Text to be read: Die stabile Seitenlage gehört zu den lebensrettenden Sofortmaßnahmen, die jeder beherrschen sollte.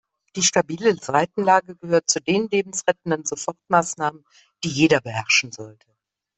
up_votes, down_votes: 2, 0